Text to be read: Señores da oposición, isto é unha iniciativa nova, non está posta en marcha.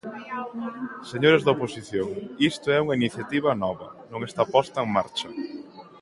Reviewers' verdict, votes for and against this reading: accepted, 2, 0